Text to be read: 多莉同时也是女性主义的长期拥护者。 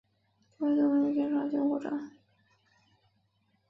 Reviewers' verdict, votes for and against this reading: rejected, 0, 2